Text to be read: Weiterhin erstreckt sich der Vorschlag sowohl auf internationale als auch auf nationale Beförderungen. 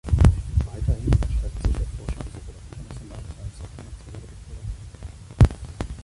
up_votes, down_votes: 0, 2